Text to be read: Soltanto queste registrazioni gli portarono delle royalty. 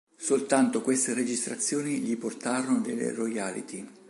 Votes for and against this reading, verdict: 1, 2, rejected